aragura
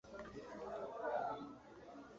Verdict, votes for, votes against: rejected, 0, 2